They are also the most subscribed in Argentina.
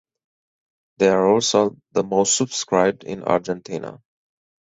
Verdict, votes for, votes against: accepted, 4, 0